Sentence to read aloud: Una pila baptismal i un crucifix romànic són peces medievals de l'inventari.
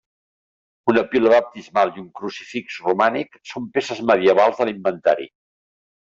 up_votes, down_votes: 2, 0